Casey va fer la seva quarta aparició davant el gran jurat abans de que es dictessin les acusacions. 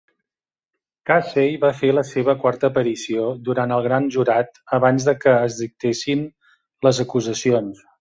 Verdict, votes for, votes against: rejected, 0, 2